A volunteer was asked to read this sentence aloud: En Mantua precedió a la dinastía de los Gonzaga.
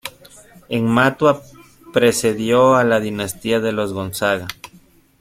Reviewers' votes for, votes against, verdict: 0, 2, rejected